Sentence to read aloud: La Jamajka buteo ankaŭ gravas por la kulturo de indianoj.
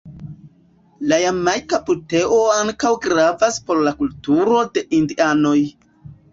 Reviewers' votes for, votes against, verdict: 2, 0, accepted